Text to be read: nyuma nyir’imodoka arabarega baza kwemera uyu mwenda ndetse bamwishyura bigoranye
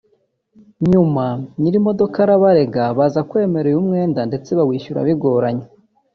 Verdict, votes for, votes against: rejected, 1, 2